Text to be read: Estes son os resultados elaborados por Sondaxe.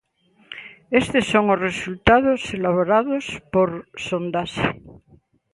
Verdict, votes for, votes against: accepted, 2, 0